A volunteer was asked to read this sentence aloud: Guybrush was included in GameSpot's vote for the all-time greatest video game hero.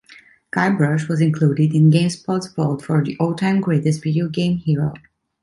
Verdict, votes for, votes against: accepted, 2, 0